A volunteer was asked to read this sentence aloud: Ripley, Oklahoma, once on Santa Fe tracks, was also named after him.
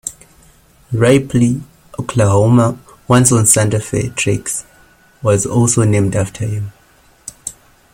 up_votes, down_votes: 1, 2